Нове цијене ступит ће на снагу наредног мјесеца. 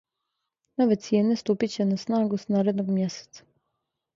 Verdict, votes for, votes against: rejected, 0, 2